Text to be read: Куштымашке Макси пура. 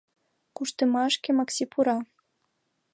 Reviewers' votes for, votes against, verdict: 2, 0, accepted